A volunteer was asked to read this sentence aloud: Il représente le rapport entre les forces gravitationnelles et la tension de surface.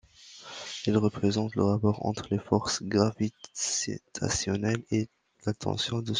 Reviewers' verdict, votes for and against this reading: rejected, 0, 2